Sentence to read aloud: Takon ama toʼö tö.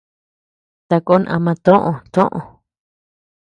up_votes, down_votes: 0, 2